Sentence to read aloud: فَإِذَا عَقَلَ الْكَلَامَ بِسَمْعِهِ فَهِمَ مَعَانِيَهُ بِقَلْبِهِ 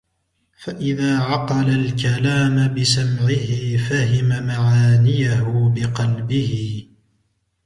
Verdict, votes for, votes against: rejected, 0, 2